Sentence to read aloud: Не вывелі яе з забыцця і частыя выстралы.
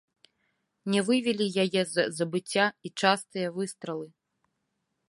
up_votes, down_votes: 0, 2